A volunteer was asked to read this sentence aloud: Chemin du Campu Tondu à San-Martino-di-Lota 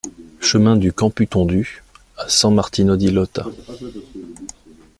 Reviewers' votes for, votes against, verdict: 2, 0, accepted